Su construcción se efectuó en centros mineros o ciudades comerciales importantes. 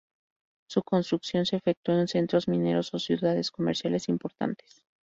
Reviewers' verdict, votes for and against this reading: rejected, 0, 2